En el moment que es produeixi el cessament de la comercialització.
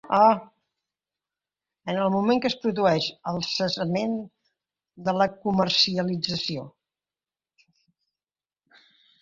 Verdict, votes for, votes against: rejected, 1, 2